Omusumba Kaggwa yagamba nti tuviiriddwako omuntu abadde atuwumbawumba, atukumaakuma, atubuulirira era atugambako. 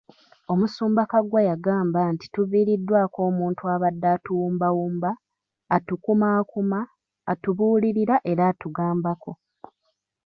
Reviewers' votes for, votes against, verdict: 0, 2, rejected